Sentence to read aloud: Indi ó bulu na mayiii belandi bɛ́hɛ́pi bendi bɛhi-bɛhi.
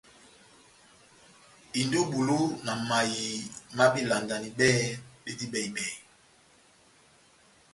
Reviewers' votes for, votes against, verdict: 0, 2, rejected